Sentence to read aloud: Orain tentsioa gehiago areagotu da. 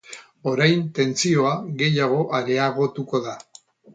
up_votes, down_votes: 4, 0